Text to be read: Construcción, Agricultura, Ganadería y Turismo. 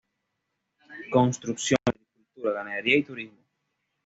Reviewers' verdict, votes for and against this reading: rejected, 1, 2